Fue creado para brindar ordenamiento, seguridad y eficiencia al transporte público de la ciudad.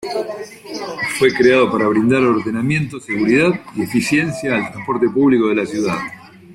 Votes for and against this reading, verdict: 2, 0, accepted